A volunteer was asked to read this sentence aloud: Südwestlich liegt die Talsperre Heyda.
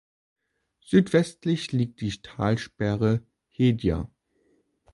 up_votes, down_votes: 2, 1